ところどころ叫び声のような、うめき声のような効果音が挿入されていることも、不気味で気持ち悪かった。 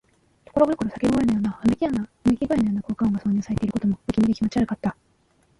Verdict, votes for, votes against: rejected, 0, 3